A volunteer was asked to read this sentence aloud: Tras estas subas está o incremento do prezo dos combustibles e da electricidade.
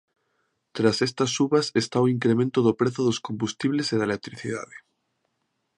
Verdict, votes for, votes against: accepted, 2, 0